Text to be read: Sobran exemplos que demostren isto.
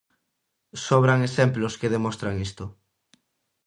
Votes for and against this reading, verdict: 0, 2, rejected